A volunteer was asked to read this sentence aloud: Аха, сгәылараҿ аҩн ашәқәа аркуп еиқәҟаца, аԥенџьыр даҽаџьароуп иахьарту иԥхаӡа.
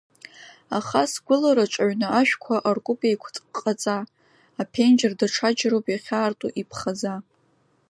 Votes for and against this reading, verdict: 1, 2, rejected